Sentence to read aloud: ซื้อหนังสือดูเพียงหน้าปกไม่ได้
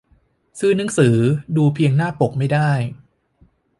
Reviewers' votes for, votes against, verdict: 2, 0, accepted